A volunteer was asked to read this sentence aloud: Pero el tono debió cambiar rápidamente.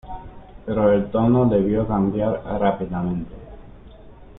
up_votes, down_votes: 1, 2